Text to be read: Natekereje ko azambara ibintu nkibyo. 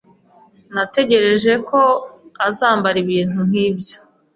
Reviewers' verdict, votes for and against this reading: accepted, 2, 1